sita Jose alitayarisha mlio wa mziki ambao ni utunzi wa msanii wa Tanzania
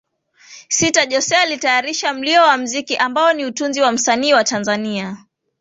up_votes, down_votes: 2, 0